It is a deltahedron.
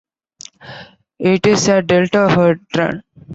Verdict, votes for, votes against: rejected, 0, 4